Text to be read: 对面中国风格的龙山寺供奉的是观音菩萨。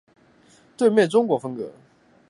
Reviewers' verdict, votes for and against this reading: rejected, 1, 3